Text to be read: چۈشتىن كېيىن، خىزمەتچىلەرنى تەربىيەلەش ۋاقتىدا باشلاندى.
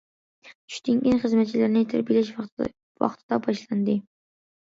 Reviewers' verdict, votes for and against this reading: rejected, 0, 3